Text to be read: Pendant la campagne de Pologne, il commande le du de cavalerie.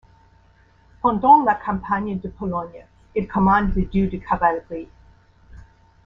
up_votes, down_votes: 2, 0